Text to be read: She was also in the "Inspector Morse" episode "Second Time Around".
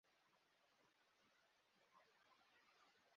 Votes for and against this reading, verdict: 1, 2, rejected